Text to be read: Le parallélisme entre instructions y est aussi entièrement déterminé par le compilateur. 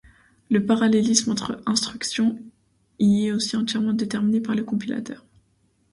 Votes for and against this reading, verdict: 0, 2, rejected